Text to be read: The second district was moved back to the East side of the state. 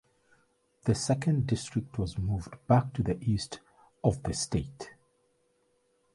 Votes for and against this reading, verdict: 0, 2, rejected